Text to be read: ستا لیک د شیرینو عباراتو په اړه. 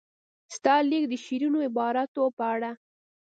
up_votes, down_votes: 2, 0